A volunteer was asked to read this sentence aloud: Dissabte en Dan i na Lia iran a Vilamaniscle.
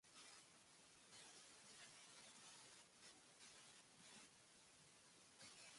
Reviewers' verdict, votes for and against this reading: rejected, 0, 2